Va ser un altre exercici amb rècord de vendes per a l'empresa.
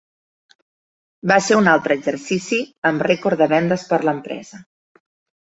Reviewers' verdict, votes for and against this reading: rejected, 0, 2